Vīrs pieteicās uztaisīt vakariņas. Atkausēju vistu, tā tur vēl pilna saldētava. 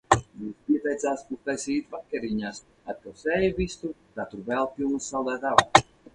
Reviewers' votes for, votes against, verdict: 0, 6, rejected